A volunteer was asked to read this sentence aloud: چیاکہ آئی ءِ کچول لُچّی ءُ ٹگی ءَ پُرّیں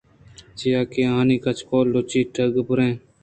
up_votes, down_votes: 2, 0